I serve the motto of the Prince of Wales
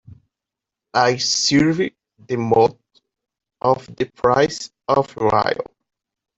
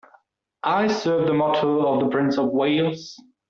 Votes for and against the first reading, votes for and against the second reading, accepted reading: 0, 2, 2, 0, second